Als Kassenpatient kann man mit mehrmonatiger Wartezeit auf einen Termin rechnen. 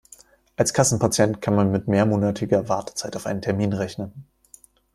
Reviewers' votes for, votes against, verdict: 2, 0, accepted